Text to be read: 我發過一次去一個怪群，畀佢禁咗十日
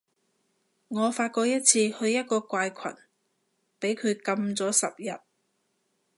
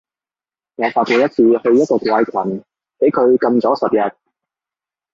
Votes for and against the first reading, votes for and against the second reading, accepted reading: 2, 0, 1, 2, first